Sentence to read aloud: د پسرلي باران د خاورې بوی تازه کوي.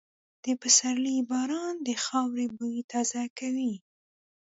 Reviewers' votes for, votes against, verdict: 2, 0, accepted